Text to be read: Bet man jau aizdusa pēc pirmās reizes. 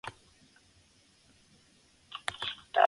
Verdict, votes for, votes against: rejected, 0, 2